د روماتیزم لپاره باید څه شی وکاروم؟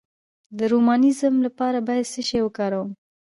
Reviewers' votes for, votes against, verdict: 0, 2, rejected